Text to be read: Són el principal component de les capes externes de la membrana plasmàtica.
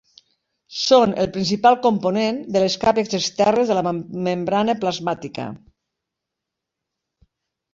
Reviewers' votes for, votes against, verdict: 1, 2, rejected